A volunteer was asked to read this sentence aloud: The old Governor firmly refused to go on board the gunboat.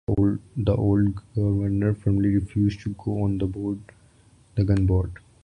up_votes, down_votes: 1, 2